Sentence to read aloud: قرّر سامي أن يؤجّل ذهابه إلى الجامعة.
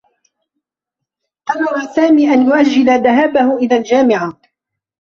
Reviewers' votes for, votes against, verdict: 2, 0, accepted